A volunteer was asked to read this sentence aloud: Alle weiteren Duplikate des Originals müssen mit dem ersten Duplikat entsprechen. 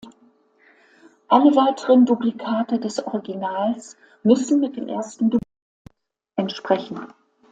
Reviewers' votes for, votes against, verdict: 0, 2, rejected